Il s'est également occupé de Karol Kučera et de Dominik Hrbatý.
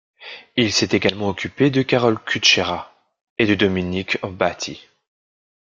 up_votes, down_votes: 2, 0